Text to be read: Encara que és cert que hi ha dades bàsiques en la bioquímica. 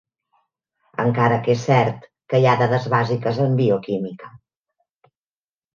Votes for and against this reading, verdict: 0, 2, rejected